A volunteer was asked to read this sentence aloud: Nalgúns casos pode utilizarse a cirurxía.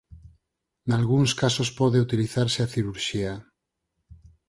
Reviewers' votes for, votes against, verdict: 0, 4, rejected